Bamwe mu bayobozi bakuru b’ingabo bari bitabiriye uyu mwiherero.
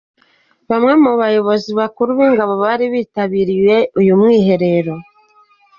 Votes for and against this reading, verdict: 2, 0, accepted